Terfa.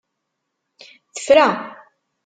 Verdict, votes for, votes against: rejected, 0, 2